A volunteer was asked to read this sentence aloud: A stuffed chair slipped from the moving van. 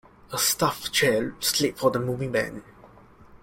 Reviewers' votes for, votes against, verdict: 2, 1, accepted